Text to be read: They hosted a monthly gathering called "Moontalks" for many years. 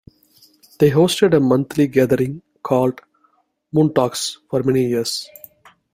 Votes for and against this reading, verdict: 2, 0, accepted